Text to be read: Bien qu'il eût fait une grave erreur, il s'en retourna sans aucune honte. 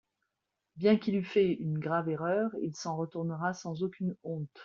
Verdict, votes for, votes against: rejected, 1, 2